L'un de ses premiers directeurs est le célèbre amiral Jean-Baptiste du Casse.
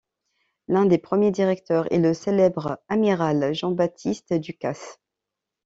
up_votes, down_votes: 1, 2